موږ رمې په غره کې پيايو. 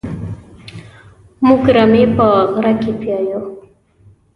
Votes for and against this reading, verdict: 2, 0, accepted